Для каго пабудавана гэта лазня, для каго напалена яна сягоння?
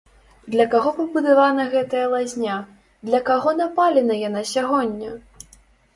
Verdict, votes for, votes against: rejected, 1, 2